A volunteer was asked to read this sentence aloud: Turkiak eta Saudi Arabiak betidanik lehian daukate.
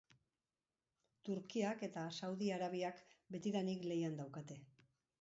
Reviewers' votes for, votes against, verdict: 2, 2, rejected